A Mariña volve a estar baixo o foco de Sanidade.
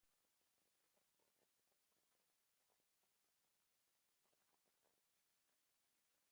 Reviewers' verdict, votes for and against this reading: rejected, 0, 2